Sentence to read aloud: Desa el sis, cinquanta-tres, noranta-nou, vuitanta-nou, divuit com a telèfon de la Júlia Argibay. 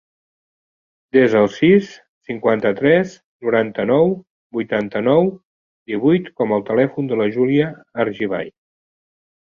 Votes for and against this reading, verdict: 2, 1, accepted